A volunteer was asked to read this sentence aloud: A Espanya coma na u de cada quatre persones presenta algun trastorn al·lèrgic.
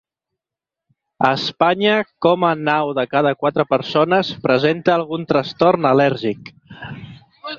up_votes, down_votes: 2, 0